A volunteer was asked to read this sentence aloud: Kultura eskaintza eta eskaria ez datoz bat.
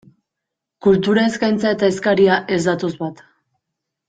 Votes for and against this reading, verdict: 2, 0, accepted